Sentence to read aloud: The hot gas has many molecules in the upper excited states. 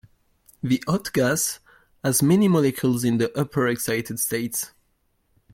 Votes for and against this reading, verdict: 0, 2, rejected